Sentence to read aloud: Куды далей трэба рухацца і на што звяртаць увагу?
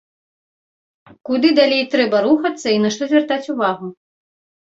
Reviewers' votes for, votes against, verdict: 2, 0, accepted